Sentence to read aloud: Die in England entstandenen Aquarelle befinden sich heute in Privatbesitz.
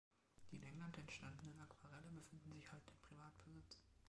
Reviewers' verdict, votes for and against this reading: accepted, 2, 0